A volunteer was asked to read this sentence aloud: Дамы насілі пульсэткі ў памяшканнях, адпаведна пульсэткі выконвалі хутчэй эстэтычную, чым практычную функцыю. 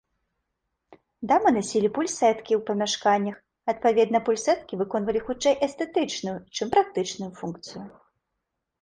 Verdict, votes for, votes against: accepted, 2, 0